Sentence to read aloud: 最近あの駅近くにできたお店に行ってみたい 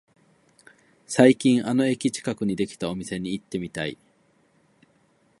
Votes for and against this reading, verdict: 0, 2, rejected